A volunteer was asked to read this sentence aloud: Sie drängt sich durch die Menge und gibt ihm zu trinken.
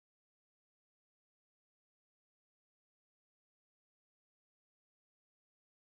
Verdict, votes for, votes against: rejected, 0, 2